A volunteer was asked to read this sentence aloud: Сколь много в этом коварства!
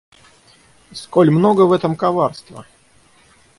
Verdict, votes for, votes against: accepted, 6, 0